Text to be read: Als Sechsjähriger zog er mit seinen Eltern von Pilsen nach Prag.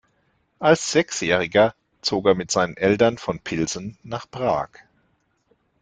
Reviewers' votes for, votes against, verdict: 2, 0, accepted